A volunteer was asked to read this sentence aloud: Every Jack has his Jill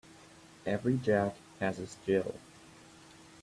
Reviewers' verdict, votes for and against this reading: accepted, 2, 1